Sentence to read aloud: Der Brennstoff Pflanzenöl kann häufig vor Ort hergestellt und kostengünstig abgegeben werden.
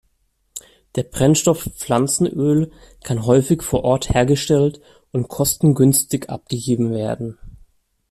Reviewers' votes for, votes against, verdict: 2, 0, accepted